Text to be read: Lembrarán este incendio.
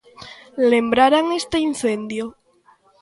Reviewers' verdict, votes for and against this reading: rejected, 0, 2